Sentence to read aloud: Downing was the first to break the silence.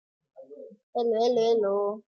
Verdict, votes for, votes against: rejected, 0, 2